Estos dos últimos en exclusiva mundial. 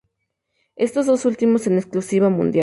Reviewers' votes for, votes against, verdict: 4, 0, accepted